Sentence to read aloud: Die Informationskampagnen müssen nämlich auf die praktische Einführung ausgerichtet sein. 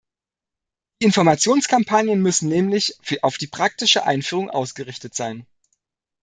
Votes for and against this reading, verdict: 0, 2, rejected